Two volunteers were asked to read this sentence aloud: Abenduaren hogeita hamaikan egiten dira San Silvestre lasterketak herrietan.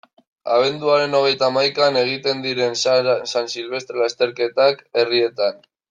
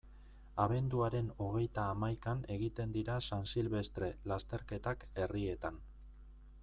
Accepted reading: second